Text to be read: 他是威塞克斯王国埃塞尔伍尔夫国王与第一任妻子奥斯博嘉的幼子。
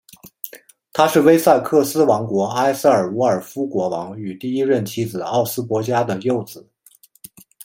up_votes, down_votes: 2, 1